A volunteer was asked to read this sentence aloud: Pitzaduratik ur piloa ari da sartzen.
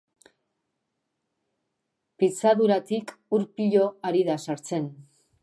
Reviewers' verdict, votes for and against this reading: rejected, 0, 2